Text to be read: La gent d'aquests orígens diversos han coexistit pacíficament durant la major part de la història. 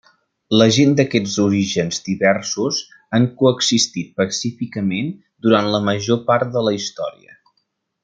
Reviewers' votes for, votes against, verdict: 2, 0, accepted